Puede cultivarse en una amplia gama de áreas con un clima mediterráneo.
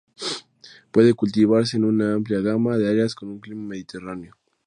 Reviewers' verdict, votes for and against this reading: accepted, 2, 0